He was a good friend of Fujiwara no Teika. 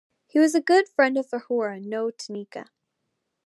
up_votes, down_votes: 1, 2